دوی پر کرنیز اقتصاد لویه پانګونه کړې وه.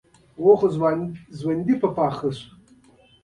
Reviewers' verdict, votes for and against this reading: rejected, 3, 4